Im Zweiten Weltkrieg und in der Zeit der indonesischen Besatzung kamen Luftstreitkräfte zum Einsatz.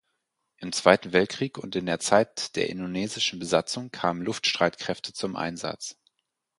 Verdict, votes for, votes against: accepted, 4, 0